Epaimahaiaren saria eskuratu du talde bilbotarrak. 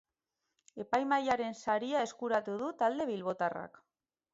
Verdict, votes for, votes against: rejected, 2, 2